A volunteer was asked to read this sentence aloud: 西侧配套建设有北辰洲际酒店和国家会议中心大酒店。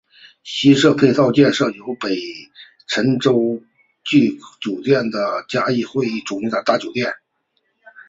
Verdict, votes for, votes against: rejected, 3, 4